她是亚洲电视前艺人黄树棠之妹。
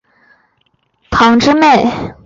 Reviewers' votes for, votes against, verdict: 0, 4, rejected